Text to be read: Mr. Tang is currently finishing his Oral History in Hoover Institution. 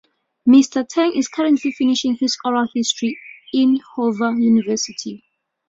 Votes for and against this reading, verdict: 1, 2, rejected